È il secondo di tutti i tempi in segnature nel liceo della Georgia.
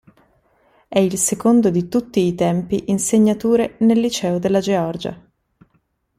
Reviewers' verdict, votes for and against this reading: accepted, 2, 0